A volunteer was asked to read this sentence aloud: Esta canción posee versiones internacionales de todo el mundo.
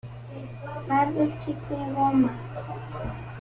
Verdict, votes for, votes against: rejected, 0, 2